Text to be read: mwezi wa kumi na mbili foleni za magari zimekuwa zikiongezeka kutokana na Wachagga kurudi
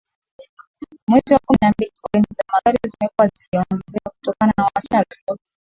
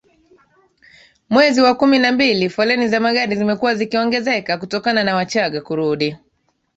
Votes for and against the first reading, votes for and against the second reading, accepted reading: 0, 2, 2, 1, second